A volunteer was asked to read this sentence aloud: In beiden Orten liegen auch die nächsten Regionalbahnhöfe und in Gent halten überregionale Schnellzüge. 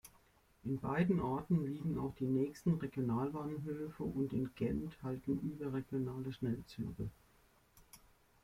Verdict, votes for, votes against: accepted, 2, 1